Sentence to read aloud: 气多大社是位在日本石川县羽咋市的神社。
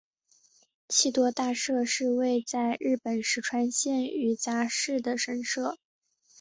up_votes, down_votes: 3, 0